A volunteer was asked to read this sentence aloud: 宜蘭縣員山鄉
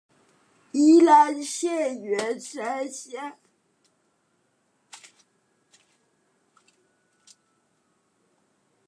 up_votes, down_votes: 1, 2